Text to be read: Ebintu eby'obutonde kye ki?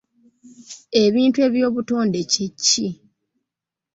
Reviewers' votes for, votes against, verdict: 1, 2, rejected